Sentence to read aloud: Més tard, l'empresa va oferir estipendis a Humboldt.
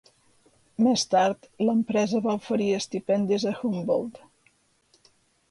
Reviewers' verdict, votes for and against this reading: accepted, 2, 0